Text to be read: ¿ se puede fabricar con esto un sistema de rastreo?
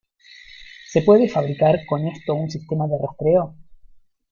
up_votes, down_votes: 0, 2